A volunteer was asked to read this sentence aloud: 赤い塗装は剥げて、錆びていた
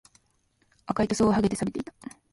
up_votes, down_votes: 1, 2